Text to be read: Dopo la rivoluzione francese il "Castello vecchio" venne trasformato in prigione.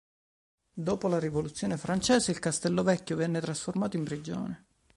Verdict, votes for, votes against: accepted, 2, 0